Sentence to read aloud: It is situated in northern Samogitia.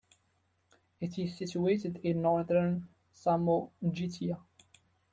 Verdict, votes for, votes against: rejected, 0, 2